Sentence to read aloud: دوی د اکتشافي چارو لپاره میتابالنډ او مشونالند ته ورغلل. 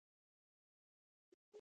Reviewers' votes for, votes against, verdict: 1, 2, rejected